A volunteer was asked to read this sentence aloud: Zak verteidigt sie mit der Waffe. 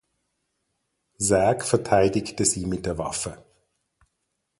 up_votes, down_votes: 0, 4